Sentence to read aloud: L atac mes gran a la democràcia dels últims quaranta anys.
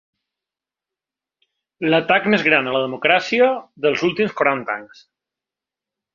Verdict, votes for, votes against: accepted, 2, 0